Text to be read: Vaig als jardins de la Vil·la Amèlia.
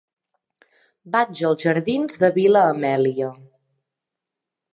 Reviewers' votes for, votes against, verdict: 1, 3, rejected